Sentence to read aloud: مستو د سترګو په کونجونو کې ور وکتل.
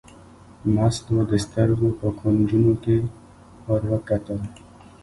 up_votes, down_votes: 0, 2